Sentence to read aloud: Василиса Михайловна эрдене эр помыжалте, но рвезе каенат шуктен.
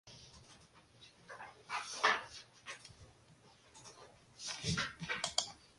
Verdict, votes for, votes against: rejected, 0, 3